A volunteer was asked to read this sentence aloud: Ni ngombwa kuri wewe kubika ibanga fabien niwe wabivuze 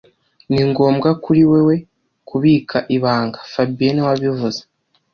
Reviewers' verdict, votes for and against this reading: accepted, 2, 0